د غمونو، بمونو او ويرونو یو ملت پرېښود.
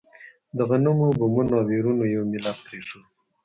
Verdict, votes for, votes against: rejected, 1, 2